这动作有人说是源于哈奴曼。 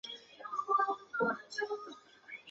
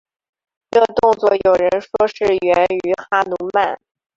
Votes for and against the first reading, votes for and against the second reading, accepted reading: 0, 2, 2, 0, second